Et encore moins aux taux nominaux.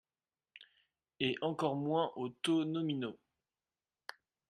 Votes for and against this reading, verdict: 3, 1, accepted